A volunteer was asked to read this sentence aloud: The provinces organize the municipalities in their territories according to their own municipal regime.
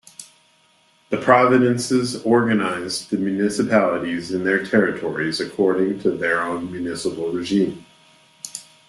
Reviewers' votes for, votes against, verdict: 1, 2, rejected